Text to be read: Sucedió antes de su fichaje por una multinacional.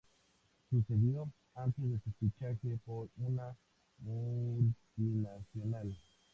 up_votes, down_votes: 2, 0